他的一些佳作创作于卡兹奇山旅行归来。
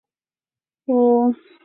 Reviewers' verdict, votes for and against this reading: rejected, 1, 2